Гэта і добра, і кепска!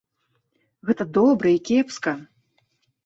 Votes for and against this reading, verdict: 0, 2, rejected